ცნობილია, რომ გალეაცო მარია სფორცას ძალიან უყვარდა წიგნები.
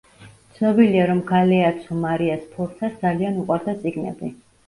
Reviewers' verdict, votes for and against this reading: rejected, 1, 2